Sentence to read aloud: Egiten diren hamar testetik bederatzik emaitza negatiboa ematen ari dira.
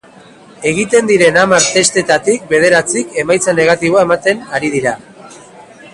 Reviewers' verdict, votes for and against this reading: accepted, 3, 0